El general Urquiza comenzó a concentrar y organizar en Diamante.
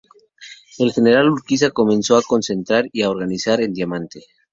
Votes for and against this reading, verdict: 2, 0, accepted